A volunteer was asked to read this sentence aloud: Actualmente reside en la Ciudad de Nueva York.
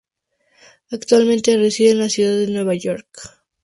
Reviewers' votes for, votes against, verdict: 2, 0, accepted